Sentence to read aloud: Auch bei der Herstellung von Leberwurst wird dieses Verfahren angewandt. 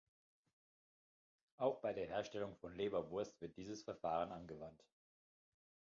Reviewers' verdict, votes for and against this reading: accepted, 2, 0